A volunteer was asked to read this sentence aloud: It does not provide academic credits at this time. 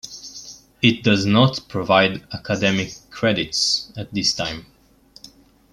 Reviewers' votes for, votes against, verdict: 2, 0, accepted